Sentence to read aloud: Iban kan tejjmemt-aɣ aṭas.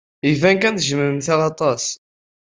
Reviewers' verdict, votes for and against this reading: accepted, 2, 0